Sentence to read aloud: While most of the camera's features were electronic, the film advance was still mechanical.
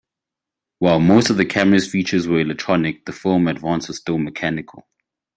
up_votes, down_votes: 2, 0